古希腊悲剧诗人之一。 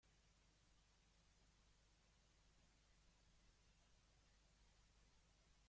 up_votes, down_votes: 0, 2